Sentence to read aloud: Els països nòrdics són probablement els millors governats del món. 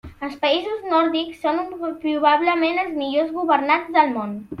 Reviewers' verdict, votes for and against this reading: rejected, 0, 2